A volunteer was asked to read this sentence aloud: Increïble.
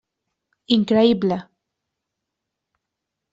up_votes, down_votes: 3, 0